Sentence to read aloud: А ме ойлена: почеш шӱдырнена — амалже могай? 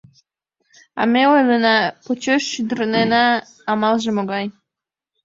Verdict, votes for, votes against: accepted, 2, 0